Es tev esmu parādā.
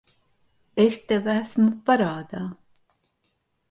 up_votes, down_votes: 2, 0